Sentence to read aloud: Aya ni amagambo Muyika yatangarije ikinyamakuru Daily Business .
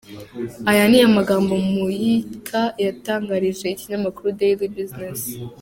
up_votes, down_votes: 2, 0